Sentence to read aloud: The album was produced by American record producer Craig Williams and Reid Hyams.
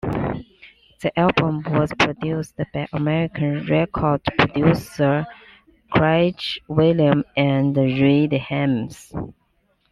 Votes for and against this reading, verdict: 0, 2, rejected